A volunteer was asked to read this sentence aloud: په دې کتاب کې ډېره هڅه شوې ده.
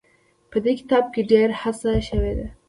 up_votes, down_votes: 2, 0